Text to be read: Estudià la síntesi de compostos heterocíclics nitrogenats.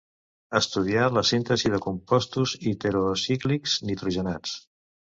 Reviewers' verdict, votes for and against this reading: rejected, 1, 2